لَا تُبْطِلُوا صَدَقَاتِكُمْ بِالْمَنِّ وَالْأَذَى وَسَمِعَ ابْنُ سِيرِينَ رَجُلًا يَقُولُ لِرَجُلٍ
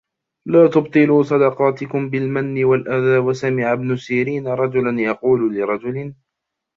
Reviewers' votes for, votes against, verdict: 0, 2, rejected